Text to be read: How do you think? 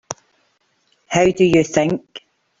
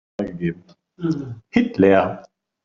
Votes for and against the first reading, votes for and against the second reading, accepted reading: 3, 0, 0, 3, first